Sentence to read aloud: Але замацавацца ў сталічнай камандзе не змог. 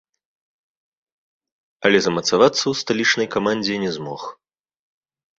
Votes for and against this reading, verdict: 2, 0, accepted